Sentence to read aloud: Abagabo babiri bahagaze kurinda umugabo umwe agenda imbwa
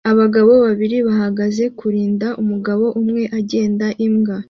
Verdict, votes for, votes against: accepted, 2, 0